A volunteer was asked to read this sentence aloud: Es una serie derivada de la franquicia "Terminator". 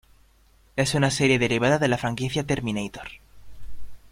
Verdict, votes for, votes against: accepted, 2, 0